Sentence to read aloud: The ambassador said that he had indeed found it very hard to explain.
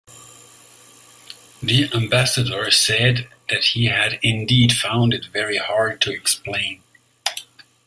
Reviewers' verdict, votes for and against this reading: accepted, 2, 0